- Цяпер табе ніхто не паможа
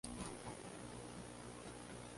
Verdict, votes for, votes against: rejected, 0, 2